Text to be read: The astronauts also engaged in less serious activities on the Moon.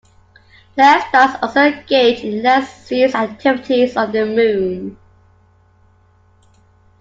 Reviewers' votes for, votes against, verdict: 1, 2, rejected